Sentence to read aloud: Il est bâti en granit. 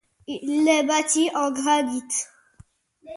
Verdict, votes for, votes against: accepted, 2, 0